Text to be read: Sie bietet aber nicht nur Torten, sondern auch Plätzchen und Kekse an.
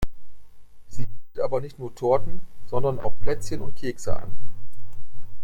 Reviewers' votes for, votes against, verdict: 0, 2, rejected